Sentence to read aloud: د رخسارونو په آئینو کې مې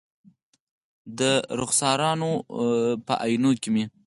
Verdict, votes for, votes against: accepted, 4, 2